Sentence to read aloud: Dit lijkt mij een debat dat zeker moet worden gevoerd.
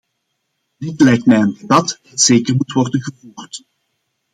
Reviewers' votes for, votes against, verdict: 1, 2, rejected